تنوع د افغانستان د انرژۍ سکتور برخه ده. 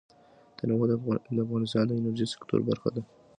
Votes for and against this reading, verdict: 2, 0, accepted